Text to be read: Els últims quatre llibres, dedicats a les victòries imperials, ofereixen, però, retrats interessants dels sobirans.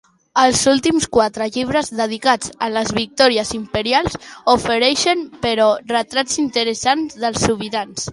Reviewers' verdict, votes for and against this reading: accepted, 2, 0